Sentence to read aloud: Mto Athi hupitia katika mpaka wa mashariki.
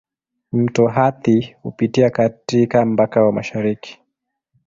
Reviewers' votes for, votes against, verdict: 2, 1, accepted